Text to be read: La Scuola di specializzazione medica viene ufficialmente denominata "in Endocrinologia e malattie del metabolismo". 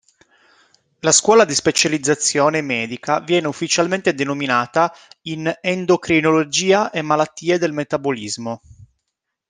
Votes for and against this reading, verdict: 2, 0, accepted